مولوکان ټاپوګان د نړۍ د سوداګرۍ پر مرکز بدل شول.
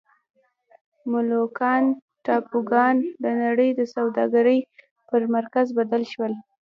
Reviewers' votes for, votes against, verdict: 0, 2, rejected